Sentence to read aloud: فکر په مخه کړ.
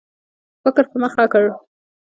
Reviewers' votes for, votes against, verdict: 0, 2, rejected